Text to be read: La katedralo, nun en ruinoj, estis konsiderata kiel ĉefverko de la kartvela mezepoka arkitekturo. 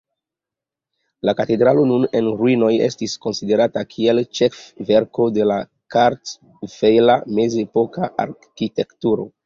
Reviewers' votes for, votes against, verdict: 3, 0, accepted